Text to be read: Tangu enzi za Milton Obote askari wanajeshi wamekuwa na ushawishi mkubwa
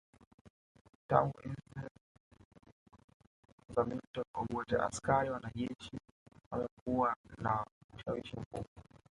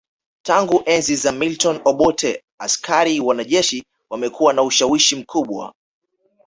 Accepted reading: second